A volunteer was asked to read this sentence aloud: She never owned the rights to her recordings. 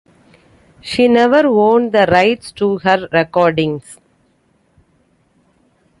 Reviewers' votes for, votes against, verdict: 2, 1, accepted